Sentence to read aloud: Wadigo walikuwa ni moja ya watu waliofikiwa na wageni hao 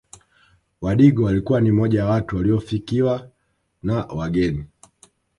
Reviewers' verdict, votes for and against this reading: rejected, 1, 2